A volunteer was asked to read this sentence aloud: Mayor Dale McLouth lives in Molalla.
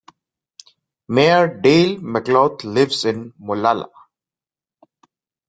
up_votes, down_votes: 2, 0